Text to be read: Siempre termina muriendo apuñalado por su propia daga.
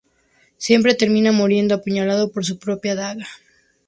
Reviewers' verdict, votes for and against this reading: accepted, 2, 0